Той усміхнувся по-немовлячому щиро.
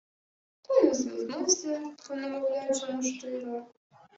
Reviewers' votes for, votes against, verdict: 0, 2, rejected